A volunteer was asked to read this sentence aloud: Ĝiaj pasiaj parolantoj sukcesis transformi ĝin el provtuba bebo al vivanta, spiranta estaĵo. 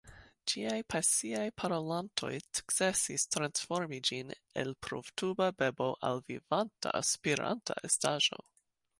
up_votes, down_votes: 1, 2